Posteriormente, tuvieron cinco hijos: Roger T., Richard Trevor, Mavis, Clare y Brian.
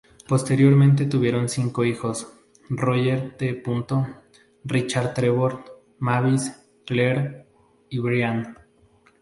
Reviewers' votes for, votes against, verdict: 0, 2, rejected